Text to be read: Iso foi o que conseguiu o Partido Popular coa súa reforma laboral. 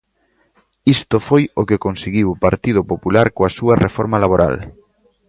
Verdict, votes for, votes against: rejected, 1, 2